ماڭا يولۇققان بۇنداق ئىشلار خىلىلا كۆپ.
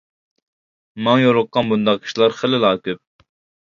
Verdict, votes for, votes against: rejected, 1, 2